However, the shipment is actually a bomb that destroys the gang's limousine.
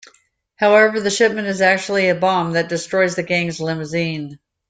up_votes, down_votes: 2, 0